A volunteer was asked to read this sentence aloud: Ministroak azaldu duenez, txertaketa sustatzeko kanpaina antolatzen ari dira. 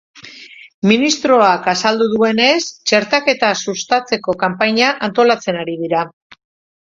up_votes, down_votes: 4, 0